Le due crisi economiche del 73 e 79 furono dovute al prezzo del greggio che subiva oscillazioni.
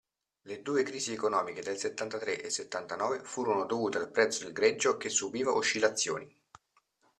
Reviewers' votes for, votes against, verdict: 0, 2, rejected